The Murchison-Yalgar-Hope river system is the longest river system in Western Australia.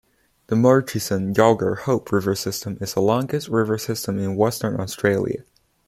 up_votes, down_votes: 2, 0